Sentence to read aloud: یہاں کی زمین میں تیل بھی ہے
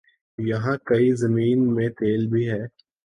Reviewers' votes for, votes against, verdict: 0, 2, rejected